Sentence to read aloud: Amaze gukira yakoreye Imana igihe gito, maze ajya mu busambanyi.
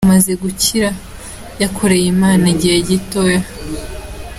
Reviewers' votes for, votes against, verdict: 0, 2, rejected